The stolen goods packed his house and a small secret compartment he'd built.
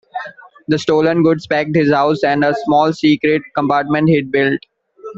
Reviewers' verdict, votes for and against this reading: accepted, 2, 1